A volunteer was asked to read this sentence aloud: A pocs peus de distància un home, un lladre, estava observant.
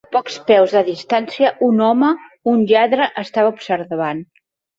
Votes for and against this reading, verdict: 0, 2, rejected